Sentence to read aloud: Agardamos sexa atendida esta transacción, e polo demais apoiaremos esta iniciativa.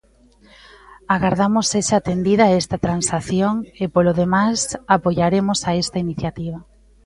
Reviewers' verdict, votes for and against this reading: rejected, 0, 2